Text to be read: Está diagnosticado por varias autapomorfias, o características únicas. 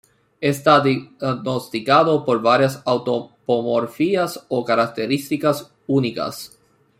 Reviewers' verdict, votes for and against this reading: rejected, 0, 2